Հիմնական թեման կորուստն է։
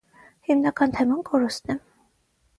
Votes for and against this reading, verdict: 6, 0, accepted